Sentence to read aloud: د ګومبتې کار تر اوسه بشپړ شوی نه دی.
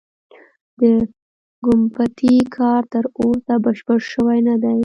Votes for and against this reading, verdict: 2, 0, accepted